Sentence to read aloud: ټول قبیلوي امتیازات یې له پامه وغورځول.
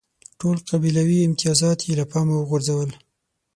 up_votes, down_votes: 6, 0